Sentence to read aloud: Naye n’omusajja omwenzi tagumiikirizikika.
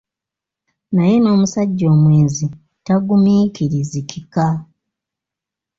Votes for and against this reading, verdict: 0, 2, rejected